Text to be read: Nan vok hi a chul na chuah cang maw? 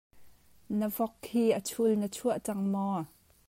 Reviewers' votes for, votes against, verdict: 0, 2, rejected